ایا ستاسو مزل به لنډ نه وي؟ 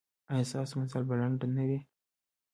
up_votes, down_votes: 2, 0